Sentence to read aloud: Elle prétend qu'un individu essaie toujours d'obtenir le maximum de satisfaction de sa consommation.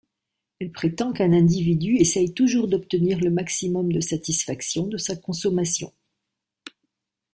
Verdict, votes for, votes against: rejected, 0, 2